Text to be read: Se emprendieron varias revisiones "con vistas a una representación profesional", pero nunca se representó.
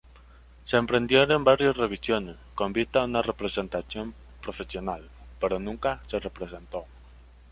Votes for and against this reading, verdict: 2, 0, accepted